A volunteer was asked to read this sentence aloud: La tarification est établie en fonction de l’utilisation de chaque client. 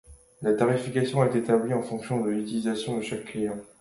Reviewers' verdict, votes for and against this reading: accepted, 2, 0